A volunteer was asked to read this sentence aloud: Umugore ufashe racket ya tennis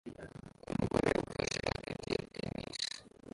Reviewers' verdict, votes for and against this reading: rejected, 0, 2